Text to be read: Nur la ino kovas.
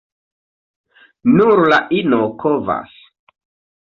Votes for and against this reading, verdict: 1, 2, rejected